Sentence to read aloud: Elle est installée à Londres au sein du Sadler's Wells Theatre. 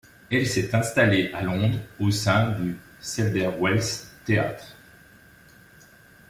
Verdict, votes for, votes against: rejected, 1, 2